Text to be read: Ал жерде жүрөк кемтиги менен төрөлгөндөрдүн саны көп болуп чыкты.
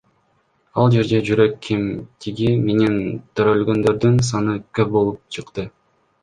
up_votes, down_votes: 2, 1